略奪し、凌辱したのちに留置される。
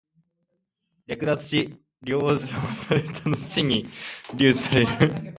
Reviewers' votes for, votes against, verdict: 2, 0, accepted